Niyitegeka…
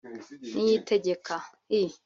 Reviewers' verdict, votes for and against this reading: rejected, 1, 2